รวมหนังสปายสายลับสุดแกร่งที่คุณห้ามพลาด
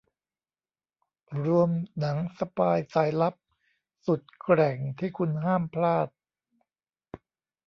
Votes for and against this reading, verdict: 0, 2, rejected